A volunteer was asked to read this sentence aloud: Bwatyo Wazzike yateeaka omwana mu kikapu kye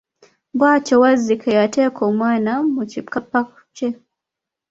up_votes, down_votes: 0, 2